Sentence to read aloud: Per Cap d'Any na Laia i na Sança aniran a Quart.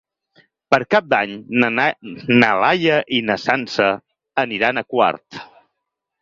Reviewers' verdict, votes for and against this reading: rejected, 2, 6